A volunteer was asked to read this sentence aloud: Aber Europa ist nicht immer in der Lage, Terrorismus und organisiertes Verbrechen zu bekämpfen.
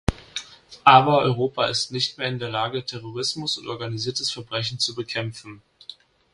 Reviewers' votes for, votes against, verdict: 0, 2, rejected